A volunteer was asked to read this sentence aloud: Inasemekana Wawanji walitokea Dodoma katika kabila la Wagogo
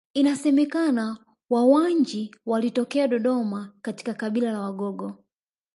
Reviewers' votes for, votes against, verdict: 1, 2, rejected